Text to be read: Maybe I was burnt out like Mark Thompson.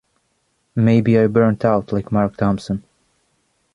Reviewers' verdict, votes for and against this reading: rejected, 1, 2